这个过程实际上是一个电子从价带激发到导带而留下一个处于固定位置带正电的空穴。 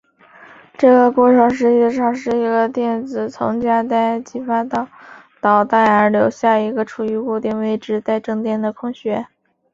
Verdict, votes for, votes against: accepted, 5, 0